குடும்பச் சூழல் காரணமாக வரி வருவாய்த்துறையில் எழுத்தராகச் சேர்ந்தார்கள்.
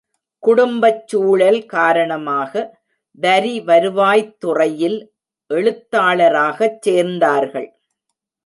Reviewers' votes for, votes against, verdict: 0, 2, rejected